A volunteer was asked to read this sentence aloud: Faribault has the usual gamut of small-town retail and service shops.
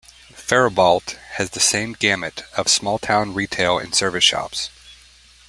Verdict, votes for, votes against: rejected, 1, 2